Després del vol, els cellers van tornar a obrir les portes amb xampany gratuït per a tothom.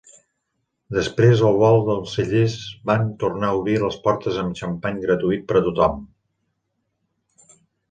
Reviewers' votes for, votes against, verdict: 2, 1, accepted